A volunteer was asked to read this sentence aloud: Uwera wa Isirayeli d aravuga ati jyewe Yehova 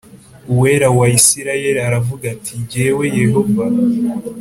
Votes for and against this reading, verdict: 2, 0, accepted